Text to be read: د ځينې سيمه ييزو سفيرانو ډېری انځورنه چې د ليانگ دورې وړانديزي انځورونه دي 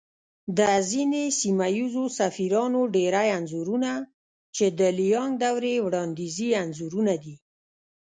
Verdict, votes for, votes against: rejected, 0, 2